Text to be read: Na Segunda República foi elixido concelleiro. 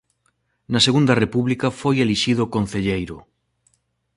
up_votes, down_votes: 2, 0